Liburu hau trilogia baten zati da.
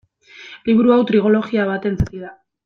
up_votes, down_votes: 1, 2